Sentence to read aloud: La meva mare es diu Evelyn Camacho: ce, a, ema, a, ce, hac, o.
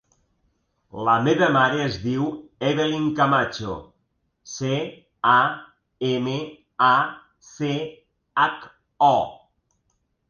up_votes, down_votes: 1, 2